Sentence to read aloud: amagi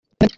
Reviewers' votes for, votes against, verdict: 0, 2, rejected